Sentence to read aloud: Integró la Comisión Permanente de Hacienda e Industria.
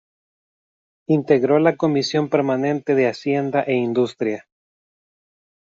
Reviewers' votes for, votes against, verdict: 2, 0, accepted